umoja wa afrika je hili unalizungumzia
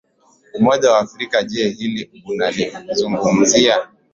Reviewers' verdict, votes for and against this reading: accepted, 2, 0